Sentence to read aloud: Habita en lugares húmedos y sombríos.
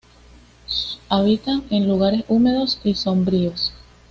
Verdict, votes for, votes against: accepted, 2, 0